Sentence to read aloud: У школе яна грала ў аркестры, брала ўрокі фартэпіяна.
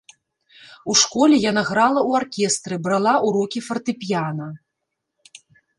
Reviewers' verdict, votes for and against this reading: rejected, 1, 2